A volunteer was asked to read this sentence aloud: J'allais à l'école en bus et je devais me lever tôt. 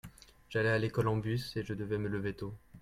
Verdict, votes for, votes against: accepted, 2, 0